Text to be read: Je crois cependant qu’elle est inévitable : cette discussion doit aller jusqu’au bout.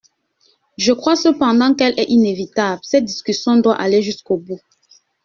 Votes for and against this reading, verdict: 2, 0, accepted